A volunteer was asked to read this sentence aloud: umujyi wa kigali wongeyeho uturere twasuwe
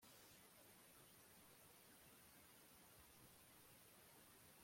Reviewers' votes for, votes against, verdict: 0, 2, rejected